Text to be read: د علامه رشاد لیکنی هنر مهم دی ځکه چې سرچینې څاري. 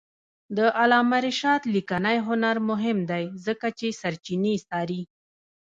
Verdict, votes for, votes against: rejected, 0, 2